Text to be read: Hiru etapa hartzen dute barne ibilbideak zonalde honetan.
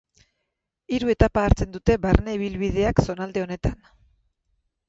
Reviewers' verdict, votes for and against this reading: accepted, 4, 0